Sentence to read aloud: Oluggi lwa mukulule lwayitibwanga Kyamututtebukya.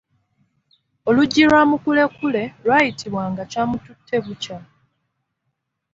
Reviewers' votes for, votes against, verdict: 1, 2, rejected